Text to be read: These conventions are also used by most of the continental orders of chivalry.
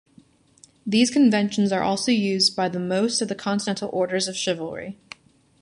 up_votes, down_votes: 1, 2